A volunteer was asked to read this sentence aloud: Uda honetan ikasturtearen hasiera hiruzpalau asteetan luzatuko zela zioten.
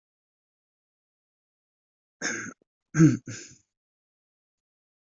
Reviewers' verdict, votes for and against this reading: rejected, 0, 2